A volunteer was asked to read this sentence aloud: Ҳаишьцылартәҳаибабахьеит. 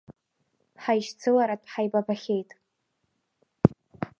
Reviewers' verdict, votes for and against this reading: accepted, 2, 0